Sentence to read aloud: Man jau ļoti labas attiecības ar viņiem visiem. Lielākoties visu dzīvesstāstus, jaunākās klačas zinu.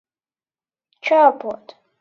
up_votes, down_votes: 0, 2